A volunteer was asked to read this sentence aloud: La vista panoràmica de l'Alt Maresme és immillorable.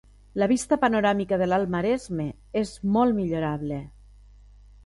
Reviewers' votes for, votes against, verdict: 0, 2, rejected